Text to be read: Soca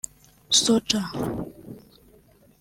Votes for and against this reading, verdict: 1, 2, rejected